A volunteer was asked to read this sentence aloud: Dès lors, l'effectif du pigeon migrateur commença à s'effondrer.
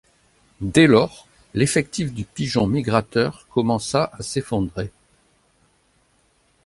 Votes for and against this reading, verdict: 2, 0, accepted